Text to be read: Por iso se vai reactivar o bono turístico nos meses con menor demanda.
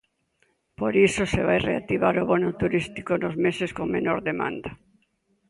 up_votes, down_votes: 2, 0